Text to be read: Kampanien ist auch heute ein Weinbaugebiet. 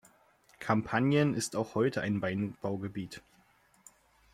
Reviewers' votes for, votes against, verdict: 2, 0, accepted